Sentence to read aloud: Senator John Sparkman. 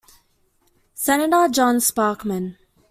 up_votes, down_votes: 2, 1